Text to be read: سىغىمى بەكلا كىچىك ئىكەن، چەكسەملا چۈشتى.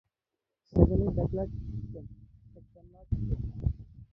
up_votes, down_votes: 1, 2